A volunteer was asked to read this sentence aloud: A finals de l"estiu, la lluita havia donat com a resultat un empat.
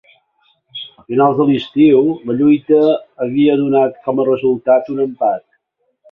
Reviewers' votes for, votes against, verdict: 2, 1, accepted